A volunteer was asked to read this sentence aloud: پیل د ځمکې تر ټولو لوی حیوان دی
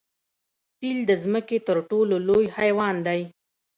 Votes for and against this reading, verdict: 0, 2, rejected